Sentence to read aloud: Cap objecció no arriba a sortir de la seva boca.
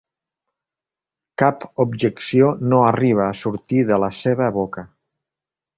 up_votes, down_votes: 4, 0